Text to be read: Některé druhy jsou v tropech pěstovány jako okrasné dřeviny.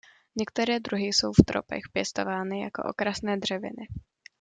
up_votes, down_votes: 2, 0